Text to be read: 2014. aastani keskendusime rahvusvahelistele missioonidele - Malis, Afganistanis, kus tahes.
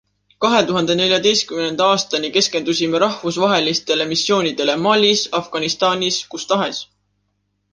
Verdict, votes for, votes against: rejected, 0, 2